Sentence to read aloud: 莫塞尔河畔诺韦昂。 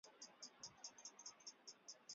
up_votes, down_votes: 0, 3